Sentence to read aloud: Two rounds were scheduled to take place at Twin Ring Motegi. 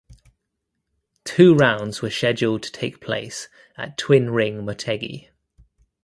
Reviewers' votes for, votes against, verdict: 2, 0, accepted